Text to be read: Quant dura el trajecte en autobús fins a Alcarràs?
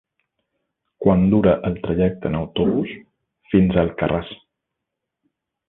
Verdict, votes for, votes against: accepted, 3, 0